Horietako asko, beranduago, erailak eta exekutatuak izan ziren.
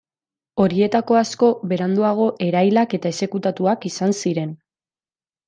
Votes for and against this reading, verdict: 2, 0, accepted